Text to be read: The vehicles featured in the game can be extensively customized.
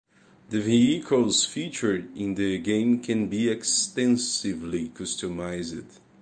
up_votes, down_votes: 2, 1